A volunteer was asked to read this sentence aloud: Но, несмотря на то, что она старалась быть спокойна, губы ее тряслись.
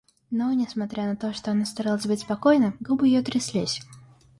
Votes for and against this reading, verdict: 2, 0, accepted